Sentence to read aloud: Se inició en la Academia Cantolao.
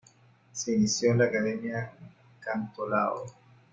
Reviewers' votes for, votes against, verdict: 2, 1, accepted